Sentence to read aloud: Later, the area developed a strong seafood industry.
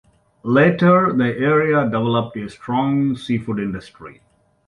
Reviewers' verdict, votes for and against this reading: rejected, 0, 2